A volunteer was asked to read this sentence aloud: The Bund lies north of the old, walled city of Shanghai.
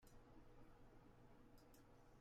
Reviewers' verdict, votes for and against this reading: rejected, 0, 2